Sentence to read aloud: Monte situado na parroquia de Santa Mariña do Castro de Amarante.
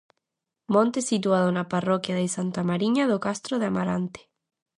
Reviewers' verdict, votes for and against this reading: accepted, 2, 0